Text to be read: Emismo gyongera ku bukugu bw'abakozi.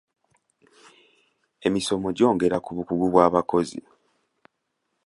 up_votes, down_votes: 2, 1